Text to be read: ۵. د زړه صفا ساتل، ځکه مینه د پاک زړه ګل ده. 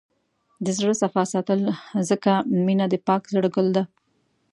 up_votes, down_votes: 0, 2